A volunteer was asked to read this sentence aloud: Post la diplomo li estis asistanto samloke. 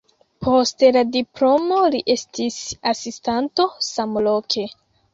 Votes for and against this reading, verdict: 1, 2, rejected